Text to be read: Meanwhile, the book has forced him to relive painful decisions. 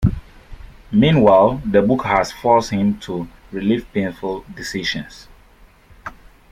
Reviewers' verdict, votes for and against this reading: rejected, 0, 2